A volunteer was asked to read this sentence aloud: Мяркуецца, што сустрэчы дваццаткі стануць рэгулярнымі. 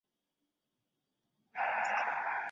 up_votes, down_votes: 0, 2